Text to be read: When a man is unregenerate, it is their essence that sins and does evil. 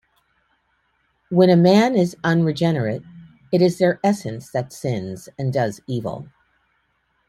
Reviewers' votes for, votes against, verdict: 2, 0, accepted